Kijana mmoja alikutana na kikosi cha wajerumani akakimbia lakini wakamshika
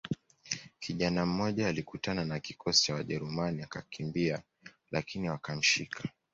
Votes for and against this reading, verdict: 2, 0, accepted